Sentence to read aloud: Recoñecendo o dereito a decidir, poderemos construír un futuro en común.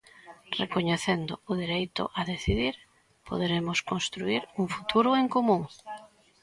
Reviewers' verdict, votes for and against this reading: accepted, 2, 0